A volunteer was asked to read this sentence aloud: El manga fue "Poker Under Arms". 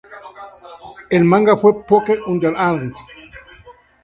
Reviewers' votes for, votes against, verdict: 2, 0, accepted